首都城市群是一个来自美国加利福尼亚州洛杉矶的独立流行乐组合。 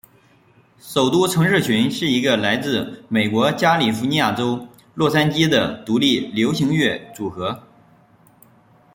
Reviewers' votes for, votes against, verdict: 2, 0, accepted